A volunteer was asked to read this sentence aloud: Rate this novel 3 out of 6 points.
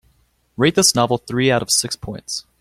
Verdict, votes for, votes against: rejected, 0, 2